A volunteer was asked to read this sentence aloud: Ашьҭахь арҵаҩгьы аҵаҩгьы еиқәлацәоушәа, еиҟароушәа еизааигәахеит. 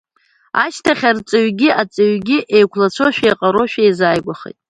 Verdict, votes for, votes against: accepted, 2, 0